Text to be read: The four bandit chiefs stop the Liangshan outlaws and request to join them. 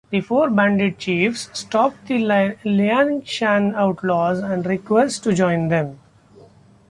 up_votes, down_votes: 1, 2